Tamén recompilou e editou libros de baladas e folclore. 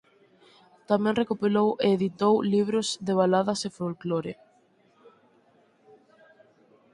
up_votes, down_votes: 2, 4